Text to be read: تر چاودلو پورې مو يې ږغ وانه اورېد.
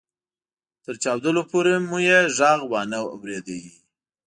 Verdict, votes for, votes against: rejected, 0, 2